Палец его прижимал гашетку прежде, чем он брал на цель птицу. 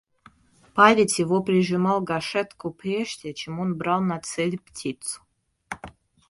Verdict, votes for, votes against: rejected, 0, 2